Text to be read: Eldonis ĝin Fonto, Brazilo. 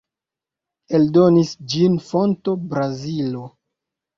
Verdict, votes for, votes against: accepted, 2, 0